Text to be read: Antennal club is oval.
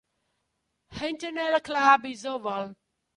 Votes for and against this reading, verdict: 2, 1, accepted